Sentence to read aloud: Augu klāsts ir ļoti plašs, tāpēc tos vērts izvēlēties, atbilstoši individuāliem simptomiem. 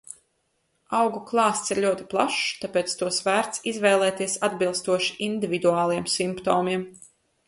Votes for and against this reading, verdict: 2, 0, accepted